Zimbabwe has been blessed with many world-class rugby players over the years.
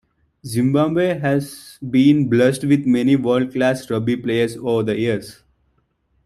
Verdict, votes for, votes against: accepted, 2, 0